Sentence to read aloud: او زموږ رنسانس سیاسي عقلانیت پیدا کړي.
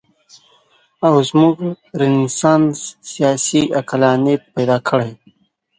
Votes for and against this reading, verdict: 1, 2, rejected